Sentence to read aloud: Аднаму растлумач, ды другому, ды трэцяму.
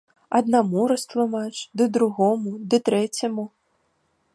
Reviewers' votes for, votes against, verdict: 2, 0, accepted